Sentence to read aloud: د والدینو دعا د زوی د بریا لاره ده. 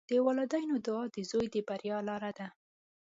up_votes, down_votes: 2, 0